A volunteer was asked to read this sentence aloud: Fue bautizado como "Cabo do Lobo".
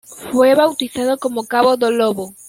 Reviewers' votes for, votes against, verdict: 2, 0, accepted